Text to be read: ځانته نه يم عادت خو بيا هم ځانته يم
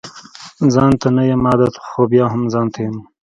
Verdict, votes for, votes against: accepted, 2, 1